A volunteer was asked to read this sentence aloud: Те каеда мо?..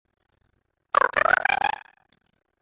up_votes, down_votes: 1, 2